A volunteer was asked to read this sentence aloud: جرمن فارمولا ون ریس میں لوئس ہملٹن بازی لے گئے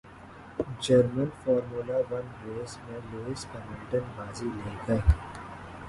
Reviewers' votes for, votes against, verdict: 2, 0, accepted